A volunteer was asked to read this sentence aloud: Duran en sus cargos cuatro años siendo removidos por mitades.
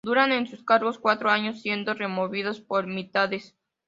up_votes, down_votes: 2, 0